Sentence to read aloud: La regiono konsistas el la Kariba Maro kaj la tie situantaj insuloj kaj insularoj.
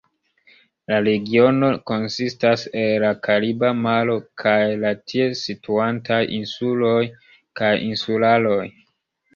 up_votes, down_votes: 2, 1